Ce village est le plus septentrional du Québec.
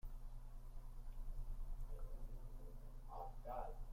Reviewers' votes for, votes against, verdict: 0, 2, rejected